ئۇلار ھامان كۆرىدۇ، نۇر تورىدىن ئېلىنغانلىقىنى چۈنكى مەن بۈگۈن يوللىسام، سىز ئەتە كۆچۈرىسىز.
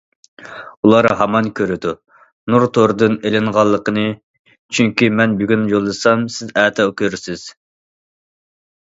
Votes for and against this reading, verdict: 0, 2, rejected